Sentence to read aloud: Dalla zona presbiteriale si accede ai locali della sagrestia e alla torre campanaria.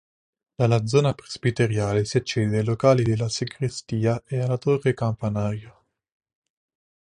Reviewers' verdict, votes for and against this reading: rejected, 2, 3